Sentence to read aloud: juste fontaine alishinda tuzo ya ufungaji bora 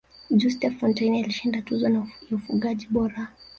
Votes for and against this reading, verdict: 2, 1, accepted